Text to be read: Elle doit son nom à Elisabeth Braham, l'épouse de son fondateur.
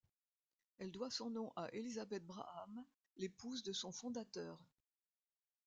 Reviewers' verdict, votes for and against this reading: accepted, 2, 0